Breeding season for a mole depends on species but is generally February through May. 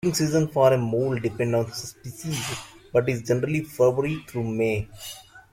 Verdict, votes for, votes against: rejected, 0, 2